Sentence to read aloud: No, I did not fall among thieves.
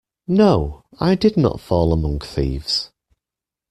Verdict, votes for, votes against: accepted, 2, 0